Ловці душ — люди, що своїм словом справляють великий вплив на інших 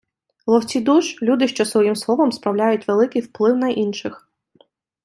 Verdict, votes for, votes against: accepted, 2, 0